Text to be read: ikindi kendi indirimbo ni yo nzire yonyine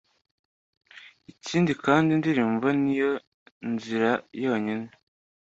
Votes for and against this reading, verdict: 2, 0, accepted